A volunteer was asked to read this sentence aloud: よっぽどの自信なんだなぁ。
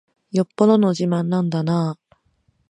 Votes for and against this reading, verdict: 1, 2, rejected